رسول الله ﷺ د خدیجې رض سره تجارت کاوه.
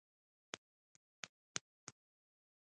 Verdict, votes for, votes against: rejected, 1, 2